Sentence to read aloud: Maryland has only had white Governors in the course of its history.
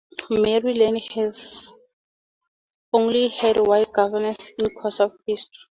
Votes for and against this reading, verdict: 0, 2, rejected